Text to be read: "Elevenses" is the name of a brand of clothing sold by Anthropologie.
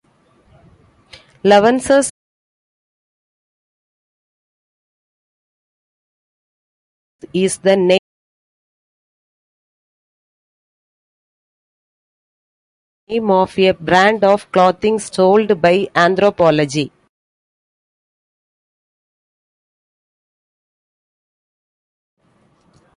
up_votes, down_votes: 0, 2